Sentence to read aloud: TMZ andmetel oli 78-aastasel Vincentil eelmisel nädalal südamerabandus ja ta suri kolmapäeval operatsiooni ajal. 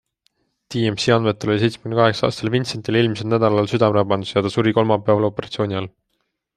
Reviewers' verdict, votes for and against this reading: rejected, 0, 2